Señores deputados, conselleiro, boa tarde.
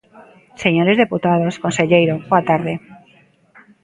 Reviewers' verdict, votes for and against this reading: rejected, 1, 2